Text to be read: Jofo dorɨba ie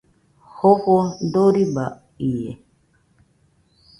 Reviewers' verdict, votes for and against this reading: accepted, 2, 0